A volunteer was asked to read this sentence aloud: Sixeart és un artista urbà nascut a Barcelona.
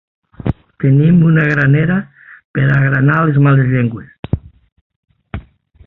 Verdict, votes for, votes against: rejected, 0, 3